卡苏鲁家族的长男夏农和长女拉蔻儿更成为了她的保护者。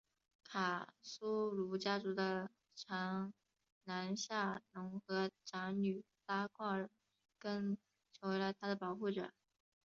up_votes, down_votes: 3, 2